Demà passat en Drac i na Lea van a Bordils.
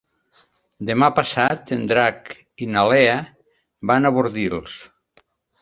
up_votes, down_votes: 3, 0